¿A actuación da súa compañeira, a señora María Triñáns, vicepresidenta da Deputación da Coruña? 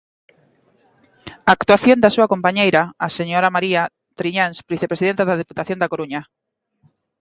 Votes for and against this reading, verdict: 2, 0, accepted